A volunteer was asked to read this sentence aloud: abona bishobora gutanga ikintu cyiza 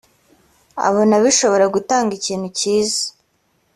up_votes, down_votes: 3, 0